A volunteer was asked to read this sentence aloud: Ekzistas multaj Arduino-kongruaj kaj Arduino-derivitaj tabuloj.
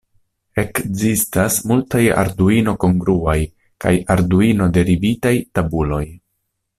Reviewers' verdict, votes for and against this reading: accepted, 2, 0